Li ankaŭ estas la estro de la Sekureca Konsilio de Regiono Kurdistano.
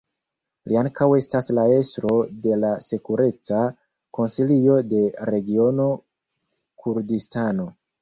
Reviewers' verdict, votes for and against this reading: accepted, 3, 2